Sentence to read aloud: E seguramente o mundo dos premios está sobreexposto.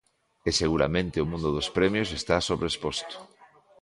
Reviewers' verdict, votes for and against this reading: accepted, 2, 0